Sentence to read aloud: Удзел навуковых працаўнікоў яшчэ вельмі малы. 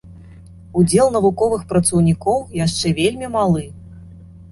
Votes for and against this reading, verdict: 2, 0, accepted